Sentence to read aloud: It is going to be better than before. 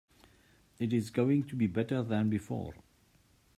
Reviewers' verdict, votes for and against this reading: accepted, 2, 0